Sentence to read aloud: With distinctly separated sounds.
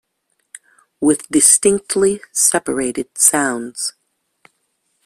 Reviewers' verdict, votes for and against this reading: accepted, 2, 0